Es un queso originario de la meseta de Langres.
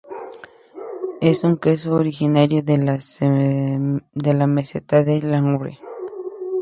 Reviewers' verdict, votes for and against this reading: rejected, 0, 2